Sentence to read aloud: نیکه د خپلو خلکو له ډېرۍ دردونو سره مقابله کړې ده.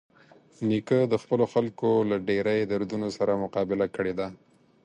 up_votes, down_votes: 4, 0